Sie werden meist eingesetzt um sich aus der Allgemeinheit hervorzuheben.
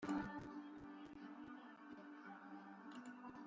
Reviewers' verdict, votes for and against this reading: rejected, 0, 2